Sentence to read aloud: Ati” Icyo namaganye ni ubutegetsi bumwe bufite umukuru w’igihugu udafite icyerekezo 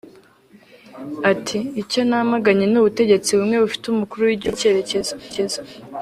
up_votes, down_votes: 0, 2